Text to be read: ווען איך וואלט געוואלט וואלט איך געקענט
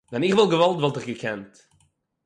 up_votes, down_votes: 6, 0